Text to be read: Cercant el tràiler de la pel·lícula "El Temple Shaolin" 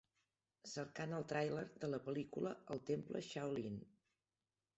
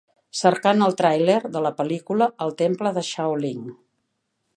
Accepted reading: second